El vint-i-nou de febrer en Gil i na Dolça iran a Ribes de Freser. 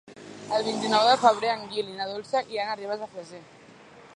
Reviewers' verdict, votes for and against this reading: rejected, 0, 2